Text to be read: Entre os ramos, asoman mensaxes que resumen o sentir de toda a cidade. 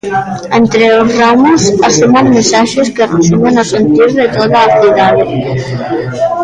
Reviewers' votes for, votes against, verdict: 1, 2, rejected